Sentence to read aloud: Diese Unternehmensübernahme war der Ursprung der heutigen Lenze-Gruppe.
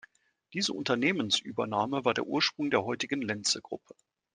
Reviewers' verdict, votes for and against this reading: accepted, 2, 0